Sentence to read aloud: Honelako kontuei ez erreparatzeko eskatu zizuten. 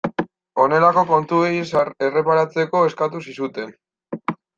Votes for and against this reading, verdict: 0, 2, rejected